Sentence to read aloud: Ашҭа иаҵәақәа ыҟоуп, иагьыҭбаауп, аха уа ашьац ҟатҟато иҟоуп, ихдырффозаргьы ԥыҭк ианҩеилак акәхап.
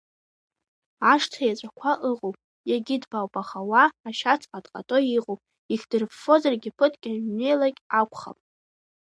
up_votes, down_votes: 2, 1